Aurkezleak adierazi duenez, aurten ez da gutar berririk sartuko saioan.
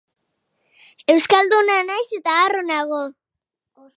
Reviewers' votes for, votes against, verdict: 0, 2, rejected